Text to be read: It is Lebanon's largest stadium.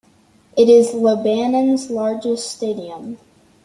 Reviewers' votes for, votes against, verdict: 1, 2, rejected